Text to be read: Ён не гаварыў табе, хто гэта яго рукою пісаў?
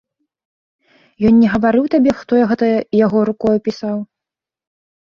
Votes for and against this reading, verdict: 0, 2, rejected